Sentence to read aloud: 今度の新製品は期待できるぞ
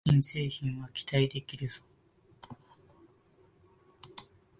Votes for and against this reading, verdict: 1, 3, rejected